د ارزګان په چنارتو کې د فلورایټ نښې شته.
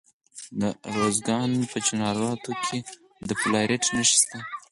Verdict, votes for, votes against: rejected, 2, 4